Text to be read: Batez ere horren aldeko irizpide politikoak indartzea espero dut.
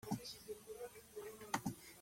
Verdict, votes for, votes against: rejected, 0, 2